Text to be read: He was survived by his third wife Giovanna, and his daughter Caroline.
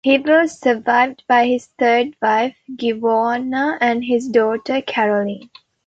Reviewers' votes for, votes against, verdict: 2, 0, accepted